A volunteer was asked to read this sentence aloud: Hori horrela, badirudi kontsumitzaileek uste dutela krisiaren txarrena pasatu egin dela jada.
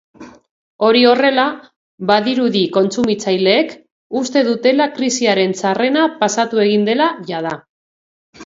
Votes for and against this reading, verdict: 2, 0, accepted